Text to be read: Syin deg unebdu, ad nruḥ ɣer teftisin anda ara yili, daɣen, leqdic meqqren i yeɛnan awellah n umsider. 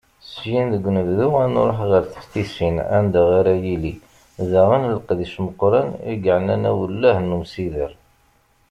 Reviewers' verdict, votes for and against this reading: accepted, 2, 0